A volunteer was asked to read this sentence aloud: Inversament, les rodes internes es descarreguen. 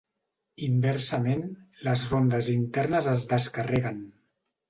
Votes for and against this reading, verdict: 0, 2, rejected